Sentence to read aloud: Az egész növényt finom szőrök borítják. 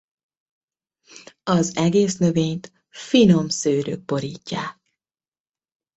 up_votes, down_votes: 2, 0